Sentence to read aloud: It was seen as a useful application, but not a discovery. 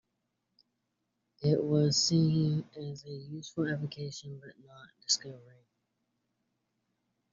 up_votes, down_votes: 1, 2